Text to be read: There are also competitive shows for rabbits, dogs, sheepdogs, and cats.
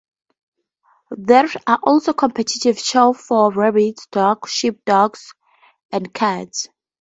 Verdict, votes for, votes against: accepted, 2, 0